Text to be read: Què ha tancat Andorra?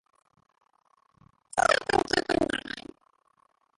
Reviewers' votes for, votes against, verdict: 0, 2, rejected